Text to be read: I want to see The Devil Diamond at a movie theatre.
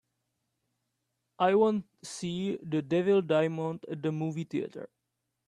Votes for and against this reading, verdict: 0, 2, rejected